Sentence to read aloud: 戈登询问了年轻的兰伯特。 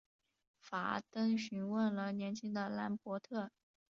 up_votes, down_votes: 0, 2